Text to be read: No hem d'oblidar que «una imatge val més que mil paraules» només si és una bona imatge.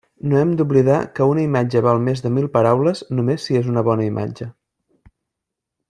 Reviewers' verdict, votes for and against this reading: rejected, 0, 2